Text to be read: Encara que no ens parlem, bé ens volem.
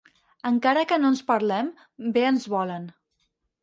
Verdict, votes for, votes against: rejected, 0, 4